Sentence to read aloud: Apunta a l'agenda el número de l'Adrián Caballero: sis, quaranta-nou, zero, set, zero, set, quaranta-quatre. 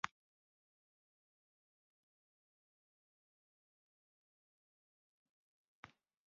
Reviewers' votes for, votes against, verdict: 0, 2, rejected